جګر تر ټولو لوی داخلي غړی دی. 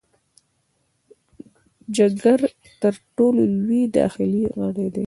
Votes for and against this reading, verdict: 2, 0, accepted